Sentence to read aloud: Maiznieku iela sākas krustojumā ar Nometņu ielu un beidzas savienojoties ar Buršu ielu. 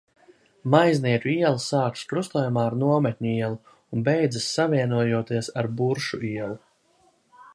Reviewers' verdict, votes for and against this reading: accepted, 2, 0